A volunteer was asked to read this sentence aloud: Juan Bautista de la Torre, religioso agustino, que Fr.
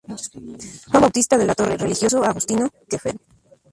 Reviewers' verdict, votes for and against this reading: accepted, 2, 0